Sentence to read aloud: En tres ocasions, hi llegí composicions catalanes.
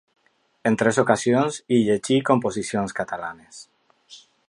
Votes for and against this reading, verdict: 4, 0, accepted